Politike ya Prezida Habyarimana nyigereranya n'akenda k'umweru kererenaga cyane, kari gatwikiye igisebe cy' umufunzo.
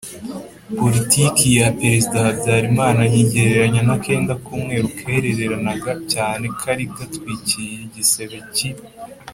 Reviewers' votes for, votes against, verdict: 0, 3, rejected